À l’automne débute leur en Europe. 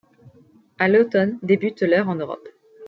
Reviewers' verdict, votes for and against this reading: accepted, 2, 1